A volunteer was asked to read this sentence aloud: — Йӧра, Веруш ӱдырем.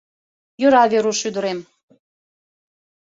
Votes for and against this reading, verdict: 2, 0, accepted